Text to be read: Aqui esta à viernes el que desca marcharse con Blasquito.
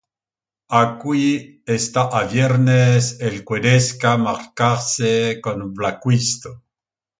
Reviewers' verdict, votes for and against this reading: rejected, 0, 2